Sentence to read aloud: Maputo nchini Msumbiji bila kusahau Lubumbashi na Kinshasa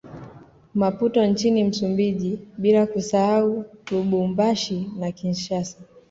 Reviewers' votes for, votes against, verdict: 2, 0, accepted